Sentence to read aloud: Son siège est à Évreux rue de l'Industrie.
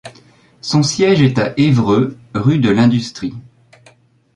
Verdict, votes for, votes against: accepted, 2, 0